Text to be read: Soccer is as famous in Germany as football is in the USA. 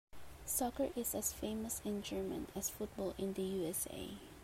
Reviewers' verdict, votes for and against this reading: rejected, 3, 5